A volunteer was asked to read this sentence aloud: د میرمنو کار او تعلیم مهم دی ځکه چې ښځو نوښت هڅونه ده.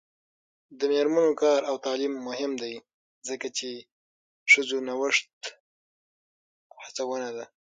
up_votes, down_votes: 6, 0